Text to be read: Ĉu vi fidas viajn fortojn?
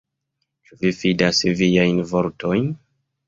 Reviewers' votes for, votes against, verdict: 2, 1, accepted